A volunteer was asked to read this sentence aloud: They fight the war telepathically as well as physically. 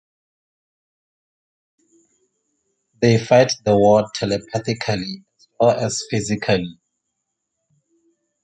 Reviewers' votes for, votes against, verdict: 1, 2, rejected